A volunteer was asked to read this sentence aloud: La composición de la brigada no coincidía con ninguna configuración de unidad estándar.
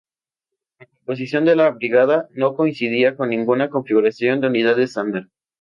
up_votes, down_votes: 2, 0